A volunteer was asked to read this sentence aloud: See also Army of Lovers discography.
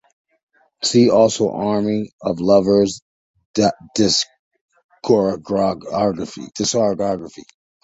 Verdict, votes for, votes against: rejected, 0, 2